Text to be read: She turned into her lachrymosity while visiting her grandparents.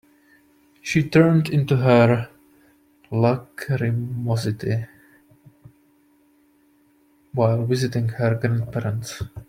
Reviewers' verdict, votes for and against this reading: rejected, 1, 2